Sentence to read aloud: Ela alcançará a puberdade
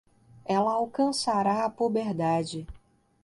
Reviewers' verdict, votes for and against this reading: accepted, 2, 0